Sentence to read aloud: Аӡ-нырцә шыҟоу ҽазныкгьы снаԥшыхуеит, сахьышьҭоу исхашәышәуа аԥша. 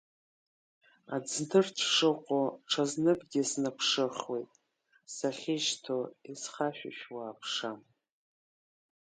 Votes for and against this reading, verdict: 1, 2, rejected